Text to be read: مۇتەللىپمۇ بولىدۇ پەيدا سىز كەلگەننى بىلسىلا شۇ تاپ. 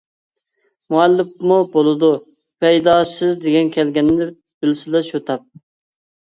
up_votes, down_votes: 0, 2